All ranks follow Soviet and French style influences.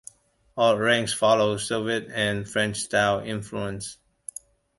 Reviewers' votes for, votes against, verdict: 0, 2, rejected